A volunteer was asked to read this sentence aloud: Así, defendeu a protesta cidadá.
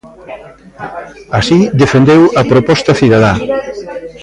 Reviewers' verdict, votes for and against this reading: rejected, 0, 2